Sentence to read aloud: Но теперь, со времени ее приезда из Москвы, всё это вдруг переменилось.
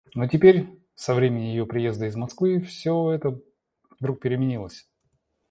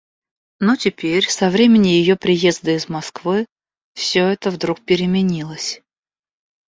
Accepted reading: second